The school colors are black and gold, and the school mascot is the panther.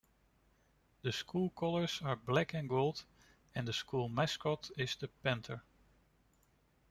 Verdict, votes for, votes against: accepted, 2, 0